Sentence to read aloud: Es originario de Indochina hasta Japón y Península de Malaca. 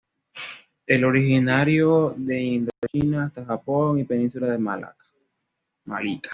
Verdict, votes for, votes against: rejected, 0, 2